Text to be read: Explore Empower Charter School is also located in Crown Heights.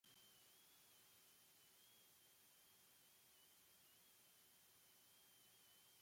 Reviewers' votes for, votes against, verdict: 0, 2, rejected